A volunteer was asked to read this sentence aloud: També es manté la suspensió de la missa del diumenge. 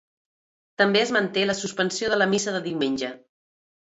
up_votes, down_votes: 1, 2